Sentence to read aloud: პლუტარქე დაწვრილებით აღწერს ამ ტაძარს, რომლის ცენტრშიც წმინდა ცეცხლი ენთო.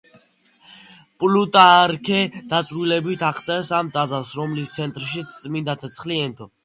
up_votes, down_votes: 2, 0